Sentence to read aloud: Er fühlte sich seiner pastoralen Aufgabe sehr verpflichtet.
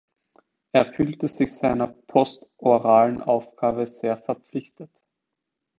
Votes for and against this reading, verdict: 0, 2, rejected